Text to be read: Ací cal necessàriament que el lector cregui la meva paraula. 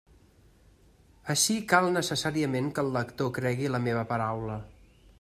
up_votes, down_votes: 3, 0